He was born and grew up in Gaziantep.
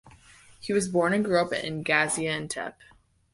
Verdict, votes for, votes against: accepted, 2, 0